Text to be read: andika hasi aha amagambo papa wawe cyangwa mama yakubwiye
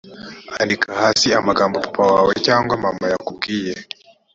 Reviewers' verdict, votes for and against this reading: accepted, 3, 1